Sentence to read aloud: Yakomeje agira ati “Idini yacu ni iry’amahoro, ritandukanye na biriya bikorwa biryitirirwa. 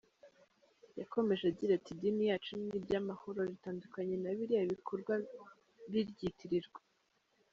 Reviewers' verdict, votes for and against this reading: accepted, 2, 0